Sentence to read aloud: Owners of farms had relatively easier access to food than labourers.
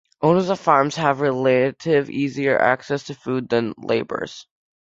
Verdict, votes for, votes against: rejected, 0, 2